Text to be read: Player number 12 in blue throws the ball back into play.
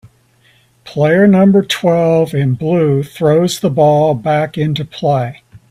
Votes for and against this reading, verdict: 0, 2, rejected